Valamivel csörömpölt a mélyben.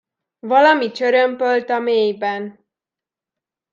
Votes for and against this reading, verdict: 0, 2, rejected